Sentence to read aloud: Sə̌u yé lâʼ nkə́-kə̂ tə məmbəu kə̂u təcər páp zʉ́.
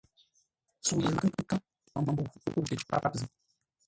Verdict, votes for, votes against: rejected, 0, 2